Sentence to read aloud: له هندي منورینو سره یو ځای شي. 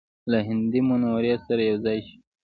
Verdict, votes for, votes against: rejected, 0, 2